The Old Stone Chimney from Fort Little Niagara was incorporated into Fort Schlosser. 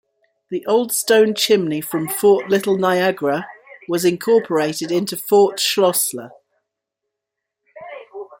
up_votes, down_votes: 1, 2